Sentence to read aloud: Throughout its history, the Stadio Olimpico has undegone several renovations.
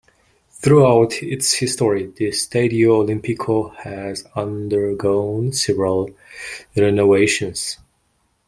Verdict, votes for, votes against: accepted, 2, 0